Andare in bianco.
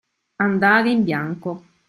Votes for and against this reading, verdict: 2, 0, accepted